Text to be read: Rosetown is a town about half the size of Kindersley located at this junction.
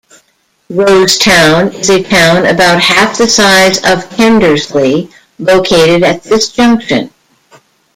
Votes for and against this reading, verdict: 1, 2, rejected